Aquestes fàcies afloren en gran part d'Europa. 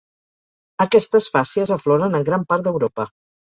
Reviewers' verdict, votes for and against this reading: accepted, 2, 1